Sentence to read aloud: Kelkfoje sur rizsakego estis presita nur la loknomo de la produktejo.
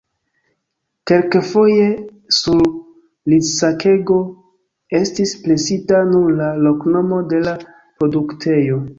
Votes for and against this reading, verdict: 0, 2, rejected